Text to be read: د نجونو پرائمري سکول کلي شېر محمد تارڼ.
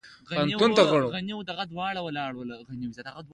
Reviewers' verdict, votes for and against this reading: accepted, 2, 1